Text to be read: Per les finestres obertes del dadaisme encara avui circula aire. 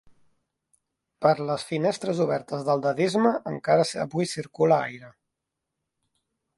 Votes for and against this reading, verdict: 2, 0, accepted